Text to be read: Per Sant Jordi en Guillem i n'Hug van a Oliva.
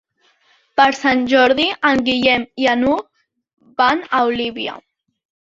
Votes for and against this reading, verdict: 0, 2, rejected